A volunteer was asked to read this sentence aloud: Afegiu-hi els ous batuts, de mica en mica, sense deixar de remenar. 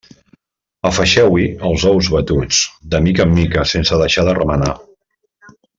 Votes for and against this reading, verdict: 0, 2, rejected